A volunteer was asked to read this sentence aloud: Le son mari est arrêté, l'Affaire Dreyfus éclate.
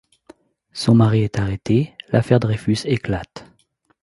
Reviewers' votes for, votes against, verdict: 0, 2, rejected